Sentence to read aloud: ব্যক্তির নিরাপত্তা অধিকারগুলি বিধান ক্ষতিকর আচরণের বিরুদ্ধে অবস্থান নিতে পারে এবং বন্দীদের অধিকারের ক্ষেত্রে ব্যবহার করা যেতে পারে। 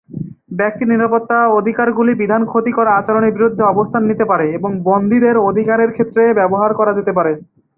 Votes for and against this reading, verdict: 4, 0, accepted